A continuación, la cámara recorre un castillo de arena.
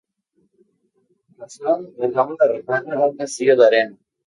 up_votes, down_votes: 4, 0